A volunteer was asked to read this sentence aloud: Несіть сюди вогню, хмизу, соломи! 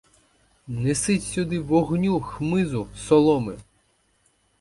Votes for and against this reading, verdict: 2, 4, rejected